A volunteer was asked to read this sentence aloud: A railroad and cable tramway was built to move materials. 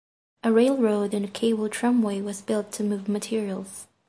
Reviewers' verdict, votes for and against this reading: accepted, 2, 0